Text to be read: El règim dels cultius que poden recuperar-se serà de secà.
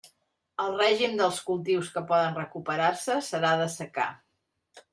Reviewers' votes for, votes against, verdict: 2, 0, accepted